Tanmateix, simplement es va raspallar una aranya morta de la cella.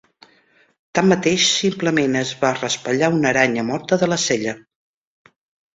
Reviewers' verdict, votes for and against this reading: accepted, 2, 0